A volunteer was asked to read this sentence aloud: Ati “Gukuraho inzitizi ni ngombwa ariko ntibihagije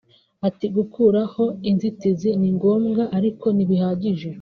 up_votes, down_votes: 2, 1